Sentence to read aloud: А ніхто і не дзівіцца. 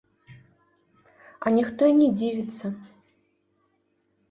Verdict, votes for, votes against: accepted, 2, 0